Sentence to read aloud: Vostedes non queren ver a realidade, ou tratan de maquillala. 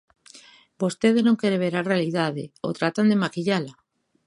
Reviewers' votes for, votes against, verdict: 1, 2, rejected